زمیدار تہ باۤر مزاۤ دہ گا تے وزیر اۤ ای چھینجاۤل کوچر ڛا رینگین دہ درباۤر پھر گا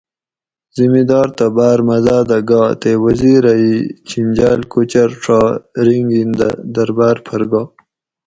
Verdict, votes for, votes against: accepted, 2, 0